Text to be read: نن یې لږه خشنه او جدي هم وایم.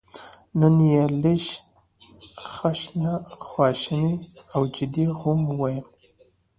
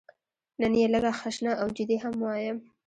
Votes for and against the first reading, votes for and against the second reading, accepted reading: 2, 1, 0, 2, first